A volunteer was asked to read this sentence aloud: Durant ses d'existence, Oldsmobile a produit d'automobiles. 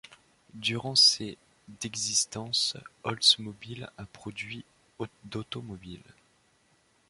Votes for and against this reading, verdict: 0, 2, rejected